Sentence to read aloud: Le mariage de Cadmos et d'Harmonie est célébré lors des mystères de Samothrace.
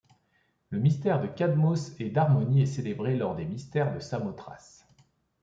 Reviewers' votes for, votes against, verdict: 0, 3, rejected